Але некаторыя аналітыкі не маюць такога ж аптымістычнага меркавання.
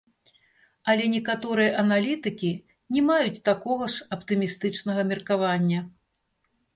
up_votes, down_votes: 0, 3